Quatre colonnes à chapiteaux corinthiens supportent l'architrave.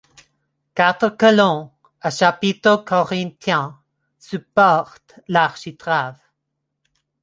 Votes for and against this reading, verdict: 1, 2, rejected